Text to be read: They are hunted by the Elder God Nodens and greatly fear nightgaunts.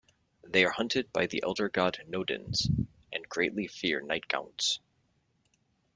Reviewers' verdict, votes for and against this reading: accepted, 2, 0